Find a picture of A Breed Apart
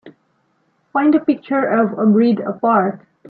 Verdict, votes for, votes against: accepted, 2, 0